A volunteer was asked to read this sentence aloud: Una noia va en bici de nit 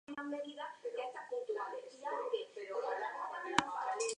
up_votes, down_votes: 0, 2